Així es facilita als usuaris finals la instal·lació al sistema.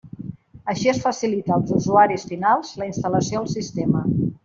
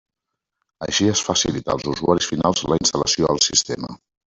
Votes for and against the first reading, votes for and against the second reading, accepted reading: 2, 0, 1, 2, first